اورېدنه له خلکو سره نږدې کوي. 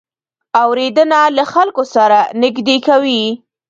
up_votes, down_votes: 0, 2